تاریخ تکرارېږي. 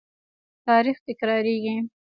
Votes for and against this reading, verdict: 1, 2, rejected